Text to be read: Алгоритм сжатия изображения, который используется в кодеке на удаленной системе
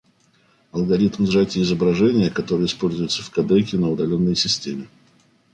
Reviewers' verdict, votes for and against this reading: accepted, 2, 1